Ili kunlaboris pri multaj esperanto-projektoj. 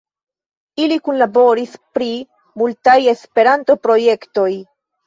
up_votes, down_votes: 2, 0